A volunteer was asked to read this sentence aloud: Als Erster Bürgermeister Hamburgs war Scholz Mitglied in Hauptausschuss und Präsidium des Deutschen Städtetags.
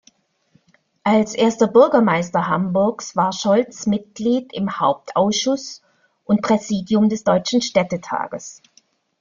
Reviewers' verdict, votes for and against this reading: rejected, 0, 2